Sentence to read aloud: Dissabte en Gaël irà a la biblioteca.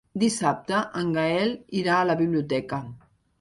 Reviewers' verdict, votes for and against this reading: accepted, 2, 0